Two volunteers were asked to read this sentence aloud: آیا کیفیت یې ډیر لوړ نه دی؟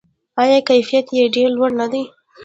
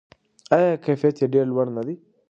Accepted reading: second